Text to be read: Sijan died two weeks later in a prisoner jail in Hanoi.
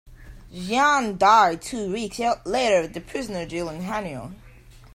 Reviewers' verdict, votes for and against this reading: rejected, 0, 2